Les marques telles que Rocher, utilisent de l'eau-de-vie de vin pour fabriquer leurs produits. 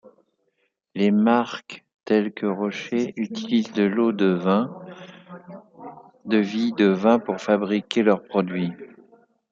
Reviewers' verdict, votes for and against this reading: rejected, 0, 2